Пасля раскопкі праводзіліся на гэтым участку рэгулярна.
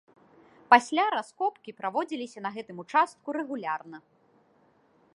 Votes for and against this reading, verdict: 1, 2, rejected